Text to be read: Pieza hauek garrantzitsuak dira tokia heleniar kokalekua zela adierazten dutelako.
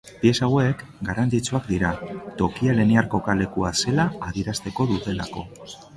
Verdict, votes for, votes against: rejected, 1, 3